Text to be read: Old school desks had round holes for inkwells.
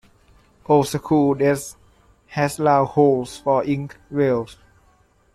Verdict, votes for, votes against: rejected, 0, 3